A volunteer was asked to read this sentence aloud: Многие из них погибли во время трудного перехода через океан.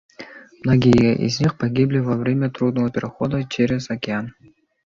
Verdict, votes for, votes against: accepted, 2, 0